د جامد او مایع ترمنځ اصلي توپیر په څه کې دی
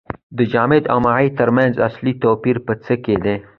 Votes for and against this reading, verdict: 2, 0, accepted